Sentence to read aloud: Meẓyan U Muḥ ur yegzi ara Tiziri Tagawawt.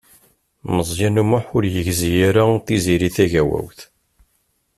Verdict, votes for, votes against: accepted, 2, 1